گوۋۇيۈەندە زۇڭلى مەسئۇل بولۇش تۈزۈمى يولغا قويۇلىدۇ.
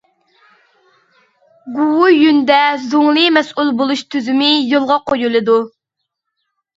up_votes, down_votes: 0, 2